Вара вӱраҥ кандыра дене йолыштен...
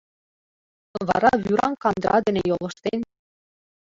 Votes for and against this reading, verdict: 2, 1, accepted